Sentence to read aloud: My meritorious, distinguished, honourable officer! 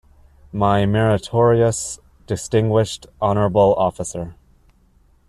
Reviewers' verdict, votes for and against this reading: accepted, 2, 1